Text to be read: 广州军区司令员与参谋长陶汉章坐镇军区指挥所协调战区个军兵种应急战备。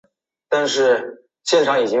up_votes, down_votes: 0, 2